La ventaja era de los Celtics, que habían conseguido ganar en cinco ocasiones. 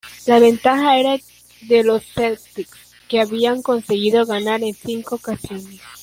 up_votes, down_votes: 1, 2